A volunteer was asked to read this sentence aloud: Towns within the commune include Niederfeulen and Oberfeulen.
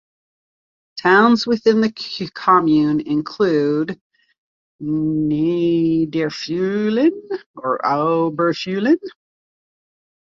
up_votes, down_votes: 0, 2